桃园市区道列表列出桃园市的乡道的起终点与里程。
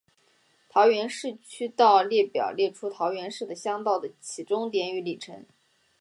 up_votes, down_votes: 3, 0